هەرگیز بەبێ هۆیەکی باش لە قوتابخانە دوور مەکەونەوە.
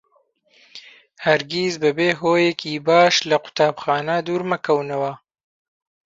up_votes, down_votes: 2, 1